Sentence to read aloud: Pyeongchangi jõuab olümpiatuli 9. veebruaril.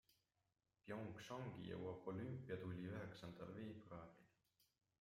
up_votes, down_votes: 0, 2